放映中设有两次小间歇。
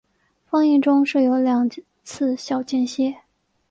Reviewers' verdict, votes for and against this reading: accepted, 2, 0